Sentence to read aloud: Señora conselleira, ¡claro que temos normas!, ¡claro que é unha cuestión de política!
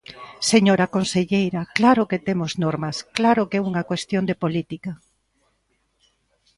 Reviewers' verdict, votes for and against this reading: accepted, 2, 0